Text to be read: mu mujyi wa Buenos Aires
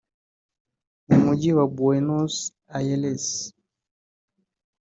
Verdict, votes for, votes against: accepted, 2, 1